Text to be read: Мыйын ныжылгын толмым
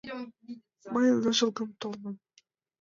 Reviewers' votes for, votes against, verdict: 1, 2, rejected